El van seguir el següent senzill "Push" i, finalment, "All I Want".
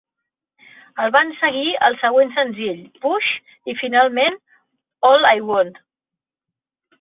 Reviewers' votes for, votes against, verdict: 2, 0, accepted